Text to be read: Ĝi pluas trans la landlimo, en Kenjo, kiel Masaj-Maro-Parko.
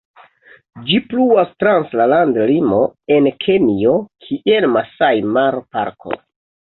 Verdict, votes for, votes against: rejected, 1, 2